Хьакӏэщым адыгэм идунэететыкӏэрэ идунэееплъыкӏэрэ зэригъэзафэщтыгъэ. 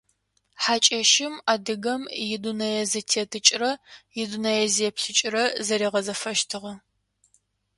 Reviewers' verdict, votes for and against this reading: rejected, 1, 2